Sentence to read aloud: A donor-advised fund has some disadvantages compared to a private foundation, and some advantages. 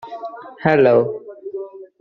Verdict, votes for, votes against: rejected, 0, 2